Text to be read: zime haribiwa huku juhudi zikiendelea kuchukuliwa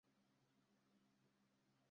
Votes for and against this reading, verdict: 0, 2, rejected